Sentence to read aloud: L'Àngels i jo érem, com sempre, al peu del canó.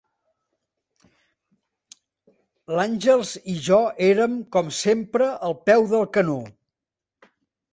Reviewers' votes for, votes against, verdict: 2, 0, accepted